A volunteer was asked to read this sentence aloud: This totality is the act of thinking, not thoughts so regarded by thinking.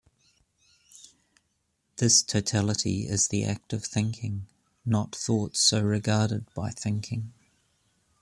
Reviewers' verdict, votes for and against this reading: accepted, 2, 0